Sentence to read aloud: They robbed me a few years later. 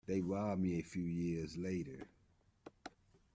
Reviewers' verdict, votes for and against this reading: accepted, 2, 0